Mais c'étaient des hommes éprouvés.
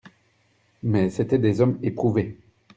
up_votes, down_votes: 2, 0